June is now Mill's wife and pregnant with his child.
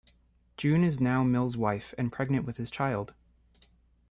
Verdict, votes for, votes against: accepted, 3, 1